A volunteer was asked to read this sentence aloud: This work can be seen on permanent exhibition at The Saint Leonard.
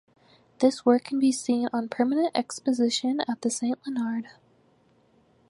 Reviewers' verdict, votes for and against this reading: rejected, 0, 4